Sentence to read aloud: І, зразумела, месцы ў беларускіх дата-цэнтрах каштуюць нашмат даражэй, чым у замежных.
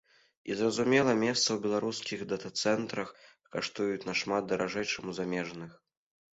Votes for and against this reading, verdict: 1, 2, rejected